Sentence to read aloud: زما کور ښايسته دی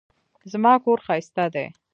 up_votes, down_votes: 2, 0